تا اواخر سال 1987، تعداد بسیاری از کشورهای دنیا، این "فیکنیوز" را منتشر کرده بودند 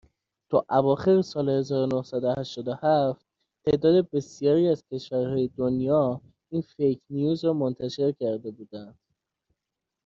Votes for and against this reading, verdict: 0, 2, rejected